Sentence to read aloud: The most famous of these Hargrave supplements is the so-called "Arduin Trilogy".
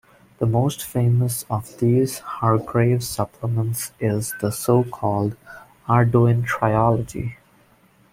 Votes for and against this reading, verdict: 1, 2, rejected